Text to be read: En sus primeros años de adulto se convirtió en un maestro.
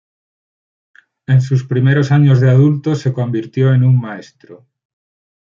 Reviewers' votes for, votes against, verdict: 6, 2, accepted